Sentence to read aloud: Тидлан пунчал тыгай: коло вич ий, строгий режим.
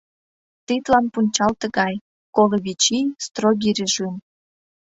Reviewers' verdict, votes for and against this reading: accepted, 2, 1